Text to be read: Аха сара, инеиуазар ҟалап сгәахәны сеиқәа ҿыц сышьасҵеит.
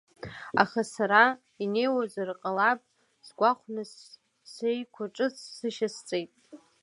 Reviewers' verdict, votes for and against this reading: accepted, 3, 1